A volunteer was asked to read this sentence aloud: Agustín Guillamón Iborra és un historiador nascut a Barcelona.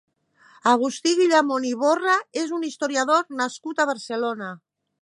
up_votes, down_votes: 0, 3